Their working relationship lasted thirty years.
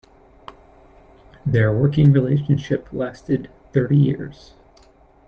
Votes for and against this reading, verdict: 2, 0, accepted